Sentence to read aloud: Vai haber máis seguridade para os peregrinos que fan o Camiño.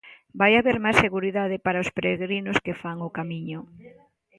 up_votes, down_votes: 2, 0